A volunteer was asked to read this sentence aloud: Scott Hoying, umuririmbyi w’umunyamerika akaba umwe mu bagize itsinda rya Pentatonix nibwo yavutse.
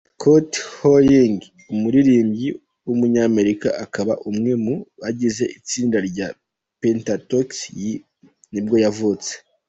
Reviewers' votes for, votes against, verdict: 1, 2, rejected